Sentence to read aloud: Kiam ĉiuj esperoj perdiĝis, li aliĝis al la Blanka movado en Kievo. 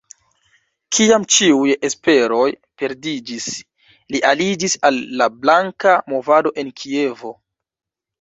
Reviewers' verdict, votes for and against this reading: rejected, 1, 2